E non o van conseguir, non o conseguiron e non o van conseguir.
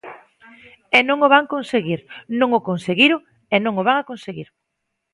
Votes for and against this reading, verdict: 0, 2, rejected